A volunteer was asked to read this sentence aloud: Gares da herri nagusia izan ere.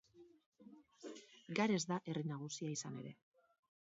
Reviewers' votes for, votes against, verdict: 2, 0, accepted